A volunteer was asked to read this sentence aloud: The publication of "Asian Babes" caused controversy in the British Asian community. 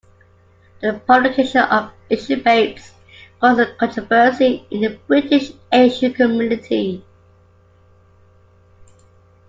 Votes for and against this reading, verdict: 1, 2, rejected